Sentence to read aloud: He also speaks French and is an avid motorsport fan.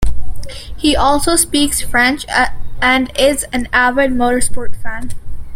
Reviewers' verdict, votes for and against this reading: rejected, 0, 2